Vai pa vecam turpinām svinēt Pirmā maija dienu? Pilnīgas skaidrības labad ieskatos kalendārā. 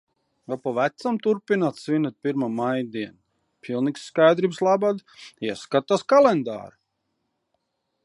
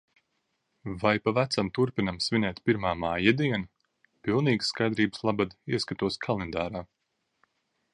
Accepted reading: second